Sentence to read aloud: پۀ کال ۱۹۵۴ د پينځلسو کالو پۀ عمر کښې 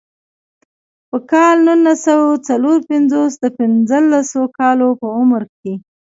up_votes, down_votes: 0, 2